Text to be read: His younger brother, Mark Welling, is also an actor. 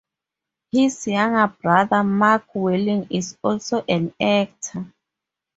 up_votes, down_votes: 4, 0